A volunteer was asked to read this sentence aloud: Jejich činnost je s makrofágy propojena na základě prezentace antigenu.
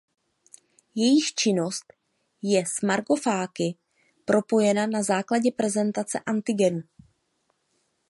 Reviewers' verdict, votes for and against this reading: rejected, 0, 2